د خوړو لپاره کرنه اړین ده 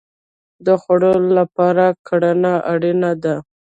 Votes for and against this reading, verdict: 2, 1, accepted